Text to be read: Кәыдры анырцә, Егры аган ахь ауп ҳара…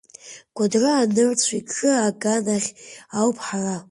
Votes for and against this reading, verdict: 2, 1, accepted